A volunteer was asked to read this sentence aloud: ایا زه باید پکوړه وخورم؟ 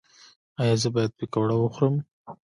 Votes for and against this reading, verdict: 1, 2, rejected